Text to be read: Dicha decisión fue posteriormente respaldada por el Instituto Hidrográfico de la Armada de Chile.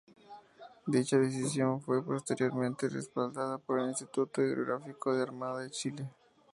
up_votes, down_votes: 2, 2